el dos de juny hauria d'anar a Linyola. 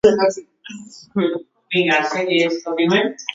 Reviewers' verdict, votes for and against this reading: rejected, 1, 2